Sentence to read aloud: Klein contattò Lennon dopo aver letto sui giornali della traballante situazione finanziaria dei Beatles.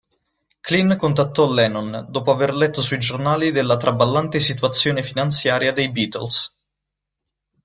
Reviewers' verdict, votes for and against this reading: accepted, 2, 0